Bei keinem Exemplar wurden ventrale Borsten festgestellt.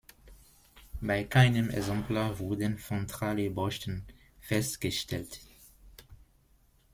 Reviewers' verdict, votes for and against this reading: rejected, 0, 2